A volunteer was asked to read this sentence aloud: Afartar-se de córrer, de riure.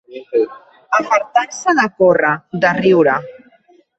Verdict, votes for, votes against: rejected, 1, 2